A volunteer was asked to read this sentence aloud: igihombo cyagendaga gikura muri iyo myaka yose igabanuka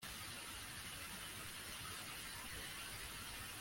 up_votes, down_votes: 0, 2